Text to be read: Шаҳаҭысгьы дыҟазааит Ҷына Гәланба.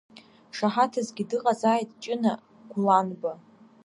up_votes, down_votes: 2, 0